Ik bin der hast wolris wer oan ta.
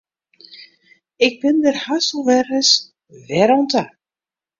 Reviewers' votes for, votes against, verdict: 0, 2, rejected